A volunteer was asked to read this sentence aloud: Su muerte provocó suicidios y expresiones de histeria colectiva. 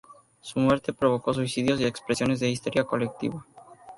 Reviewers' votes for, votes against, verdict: 2, 0, accepted